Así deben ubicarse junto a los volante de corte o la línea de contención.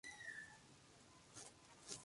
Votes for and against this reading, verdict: 0, 2, rejected